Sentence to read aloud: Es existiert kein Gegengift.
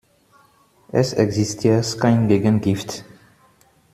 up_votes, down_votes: 2, 1